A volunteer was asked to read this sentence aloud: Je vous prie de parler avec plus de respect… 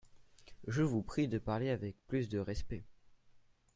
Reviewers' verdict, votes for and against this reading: accepted, 2, 0